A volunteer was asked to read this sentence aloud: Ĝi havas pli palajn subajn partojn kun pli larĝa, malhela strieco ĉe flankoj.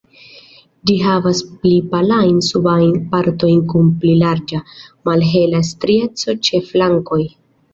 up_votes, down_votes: 2, 1